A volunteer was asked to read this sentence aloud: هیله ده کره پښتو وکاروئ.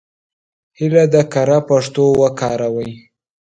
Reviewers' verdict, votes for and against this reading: accepted, 2, 1